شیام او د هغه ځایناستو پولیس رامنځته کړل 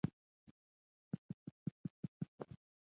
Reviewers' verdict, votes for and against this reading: rejected, 1, 2